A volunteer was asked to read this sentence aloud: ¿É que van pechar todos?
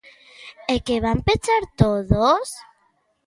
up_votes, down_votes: 2, 0